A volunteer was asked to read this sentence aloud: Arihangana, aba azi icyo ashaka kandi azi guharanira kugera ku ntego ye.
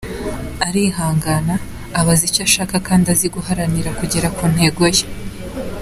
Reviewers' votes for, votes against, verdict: 2, 1, accepted